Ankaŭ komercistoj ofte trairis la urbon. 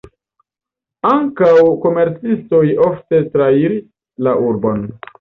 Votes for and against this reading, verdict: 2, 1, accepted